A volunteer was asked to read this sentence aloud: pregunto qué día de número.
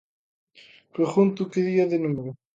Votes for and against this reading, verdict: 2, 0, accepted